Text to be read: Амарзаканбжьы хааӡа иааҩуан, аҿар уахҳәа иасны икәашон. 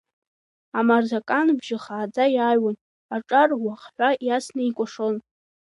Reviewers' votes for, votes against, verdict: 0, 2, rejected